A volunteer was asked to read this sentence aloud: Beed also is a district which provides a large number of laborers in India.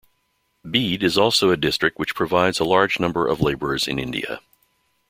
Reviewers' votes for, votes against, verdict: 0, 2, rejected